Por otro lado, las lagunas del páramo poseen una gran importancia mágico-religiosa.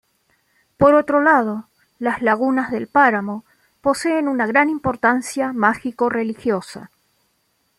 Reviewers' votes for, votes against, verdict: 2, 0, accepted